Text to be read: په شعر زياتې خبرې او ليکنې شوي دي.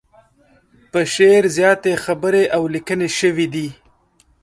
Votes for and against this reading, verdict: 0, 2, rejected